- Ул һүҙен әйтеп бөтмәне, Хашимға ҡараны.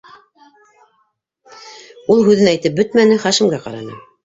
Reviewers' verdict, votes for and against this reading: rejected, 0, 2